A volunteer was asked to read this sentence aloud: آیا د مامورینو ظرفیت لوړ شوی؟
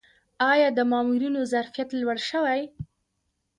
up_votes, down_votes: 1, 2